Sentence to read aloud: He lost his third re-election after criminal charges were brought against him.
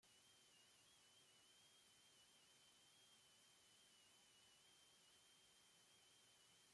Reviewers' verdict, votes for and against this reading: rejected, 0, 2